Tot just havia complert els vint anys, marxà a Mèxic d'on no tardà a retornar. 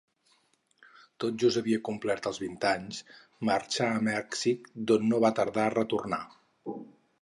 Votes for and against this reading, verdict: 2, 4, rejected